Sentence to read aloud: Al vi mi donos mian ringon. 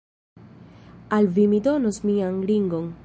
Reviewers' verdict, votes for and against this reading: accepted, 2, 0